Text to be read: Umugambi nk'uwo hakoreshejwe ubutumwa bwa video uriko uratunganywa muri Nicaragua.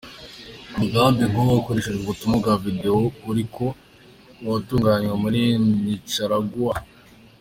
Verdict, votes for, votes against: accepted, 2, 0